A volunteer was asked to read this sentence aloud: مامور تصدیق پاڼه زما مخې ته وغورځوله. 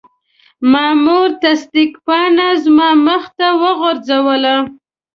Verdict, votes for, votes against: accepted, 2, 0